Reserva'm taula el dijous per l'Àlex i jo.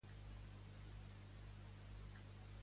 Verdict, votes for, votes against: rejected, 0, 2